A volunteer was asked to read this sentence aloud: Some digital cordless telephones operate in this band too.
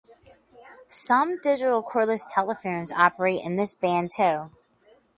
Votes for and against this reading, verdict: 2, 2, rejected